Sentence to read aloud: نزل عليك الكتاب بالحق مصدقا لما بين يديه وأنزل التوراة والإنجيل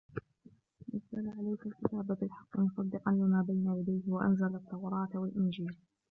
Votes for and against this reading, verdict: 0, 2, rejected